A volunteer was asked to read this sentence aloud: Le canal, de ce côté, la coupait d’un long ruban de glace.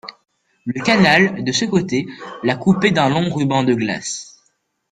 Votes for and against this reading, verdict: 2, 1, accepted